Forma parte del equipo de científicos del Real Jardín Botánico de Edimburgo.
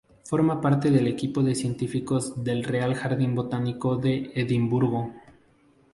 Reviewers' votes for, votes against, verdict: 4, 0, accepted